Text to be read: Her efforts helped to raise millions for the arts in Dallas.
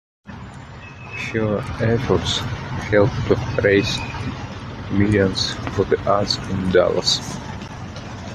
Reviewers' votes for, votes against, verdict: 0, 2, rejected